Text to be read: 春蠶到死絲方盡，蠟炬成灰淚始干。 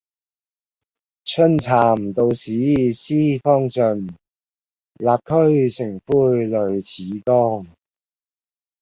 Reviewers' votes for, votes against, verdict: 0, 2, rejected